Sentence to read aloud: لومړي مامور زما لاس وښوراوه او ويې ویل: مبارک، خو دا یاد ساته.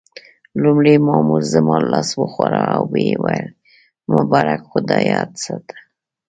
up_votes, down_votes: 2, 0